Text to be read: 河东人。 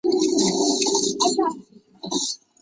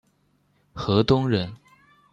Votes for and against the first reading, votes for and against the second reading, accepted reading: 2, 3, 2, 0, second